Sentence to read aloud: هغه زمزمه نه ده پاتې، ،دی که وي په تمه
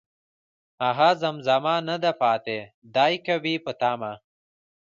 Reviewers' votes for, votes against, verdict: 2, 0, accepted